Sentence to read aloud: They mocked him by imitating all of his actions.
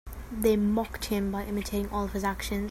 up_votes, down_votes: 1, 2